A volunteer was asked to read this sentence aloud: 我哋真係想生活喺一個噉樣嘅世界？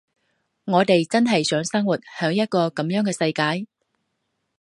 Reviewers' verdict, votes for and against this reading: rejected, 0, 2